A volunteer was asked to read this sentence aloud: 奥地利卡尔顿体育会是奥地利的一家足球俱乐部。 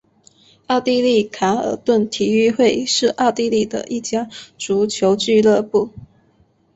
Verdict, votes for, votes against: accepted, 4, 0